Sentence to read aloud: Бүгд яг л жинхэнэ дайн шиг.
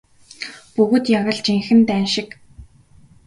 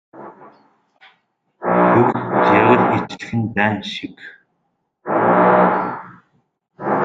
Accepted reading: first